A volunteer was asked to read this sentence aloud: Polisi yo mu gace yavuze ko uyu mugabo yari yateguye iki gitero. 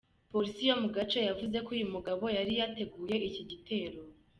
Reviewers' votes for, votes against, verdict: 2, 0, accepted